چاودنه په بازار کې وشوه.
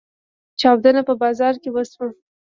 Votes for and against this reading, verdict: 1, 2, rejected